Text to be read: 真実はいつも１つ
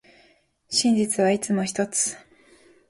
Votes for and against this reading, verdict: 0, 2, rejected